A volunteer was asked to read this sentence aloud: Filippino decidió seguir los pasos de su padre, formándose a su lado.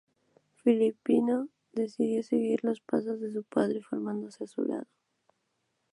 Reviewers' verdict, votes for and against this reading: accepted, 2, 0